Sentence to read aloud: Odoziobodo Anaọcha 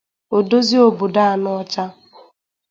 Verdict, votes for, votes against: accepted, 2, 0